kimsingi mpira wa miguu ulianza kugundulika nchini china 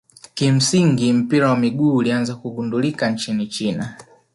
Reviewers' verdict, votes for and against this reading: accepted, 3, 1